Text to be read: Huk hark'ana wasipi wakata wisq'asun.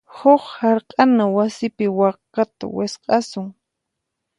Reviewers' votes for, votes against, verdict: 4, 0, accepted